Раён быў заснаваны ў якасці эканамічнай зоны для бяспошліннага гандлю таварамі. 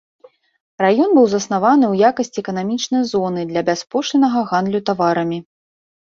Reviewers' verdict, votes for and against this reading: accepted, 2, 0